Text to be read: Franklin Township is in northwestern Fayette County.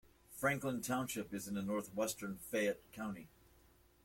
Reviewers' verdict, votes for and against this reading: rejected, 1, 2